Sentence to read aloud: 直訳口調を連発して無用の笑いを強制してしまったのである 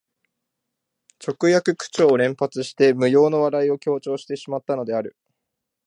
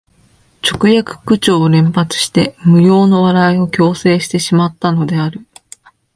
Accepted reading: second